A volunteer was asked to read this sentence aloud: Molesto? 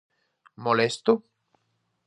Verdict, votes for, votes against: accepted, 4, 0